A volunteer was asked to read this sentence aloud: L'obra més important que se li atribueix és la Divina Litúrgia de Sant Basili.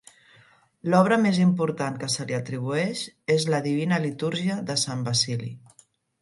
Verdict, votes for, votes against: accepted, 2, 0